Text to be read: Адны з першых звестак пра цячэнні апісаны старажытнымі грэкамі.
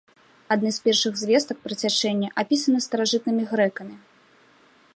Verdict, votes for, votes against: accepted, 3, 0